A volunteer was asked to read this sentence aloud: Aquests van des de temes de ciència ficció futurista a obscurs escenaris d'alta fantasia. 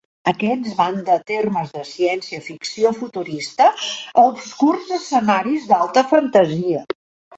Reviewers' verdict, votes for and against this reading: rejected, 0, 2